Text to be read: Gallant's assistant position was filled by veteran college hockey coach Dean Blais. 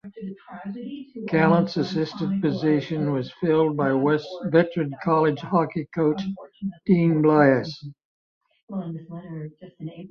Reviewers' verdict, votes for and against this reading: rejected, 0, 2